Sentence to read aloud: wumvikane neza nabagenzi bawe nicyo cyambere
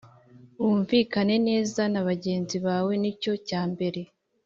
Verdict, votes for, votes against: accepted, 2, 0